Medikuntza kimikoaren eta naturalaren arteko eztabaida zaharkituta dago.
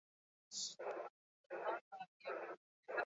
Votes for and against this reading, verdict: 0, 4, rejected